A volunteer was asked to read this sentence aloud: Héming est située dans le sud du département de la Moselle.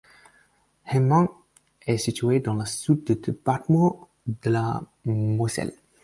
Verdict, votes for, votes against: rejected, 2, 4